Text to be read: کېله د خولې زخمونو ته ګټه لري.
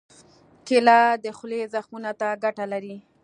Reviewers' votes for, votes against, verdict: 3, 0, accepted